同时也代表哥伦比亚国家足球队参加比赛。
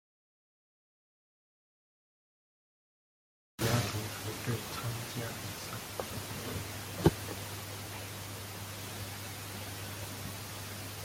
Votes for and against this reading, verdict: 0, 2, rejected